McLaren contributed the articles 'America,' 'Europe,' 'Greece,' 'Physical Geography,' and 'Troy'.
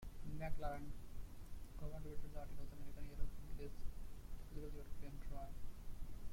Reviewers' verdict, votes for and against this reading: rejected, 0, 2